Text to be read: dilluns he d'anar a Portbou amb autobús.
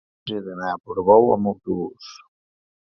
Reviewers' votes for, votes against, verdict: 2, 1, accepted